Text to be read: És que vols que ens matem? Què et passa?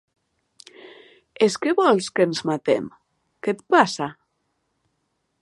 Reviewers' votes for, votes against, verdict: 2, 0, accepted